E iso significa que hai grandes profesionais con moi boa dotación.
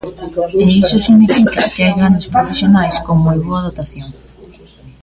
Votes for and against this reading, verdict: 1, 2, rejected